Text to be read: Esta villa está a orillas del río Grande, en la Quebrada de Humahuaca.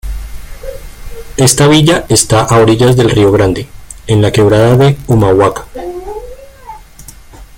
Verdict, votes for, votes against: rejected, 1, 2